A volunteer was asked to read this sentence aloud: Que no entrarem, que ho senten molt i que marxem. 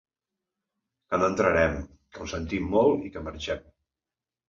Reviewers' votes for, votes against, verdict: 1, 2, rejected